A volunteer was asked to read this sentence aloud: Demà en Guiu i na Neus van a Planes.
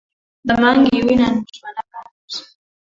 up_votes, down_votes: 1, 4